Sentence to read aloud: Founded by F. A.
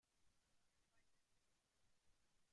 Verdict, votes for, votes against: rejected, 0, 2